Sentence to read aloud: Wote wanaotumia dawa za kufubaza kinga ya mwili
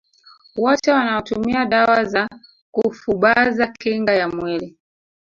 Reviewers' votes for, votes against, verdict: 0, 2, rejected